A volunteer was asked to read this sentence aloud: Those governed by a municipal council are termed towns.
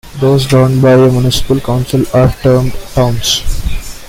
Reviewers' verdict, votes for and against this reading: accepted, 2, 1